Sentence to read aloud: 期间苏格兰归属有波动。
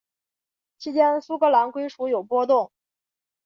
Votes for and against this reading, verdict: 0, 2, rejected